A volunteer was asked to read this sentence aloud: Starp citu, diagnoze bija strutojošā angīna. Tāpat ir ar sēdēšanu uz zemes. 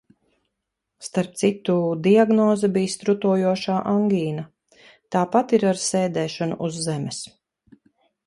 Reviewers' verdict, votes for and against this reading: accepted, 2, 0